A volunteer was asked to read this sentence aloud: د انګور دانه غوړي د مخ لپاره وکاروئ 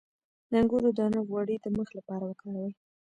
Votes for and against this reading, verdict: 1, 2, rejected